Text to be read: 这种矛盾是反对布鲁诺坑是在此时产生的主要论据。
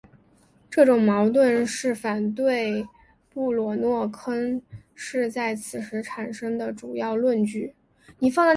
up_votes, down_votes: 3, 0